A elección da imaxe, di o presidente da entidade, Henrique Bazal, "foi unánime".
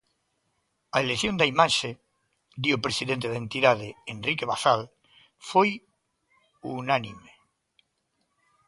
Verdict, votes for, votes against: accepted, 2, 0